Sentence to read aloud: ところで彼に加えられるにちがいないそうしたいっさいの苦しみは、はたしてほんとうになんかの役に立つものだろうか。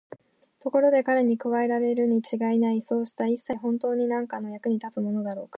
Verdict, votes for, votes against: rejected, 3, 4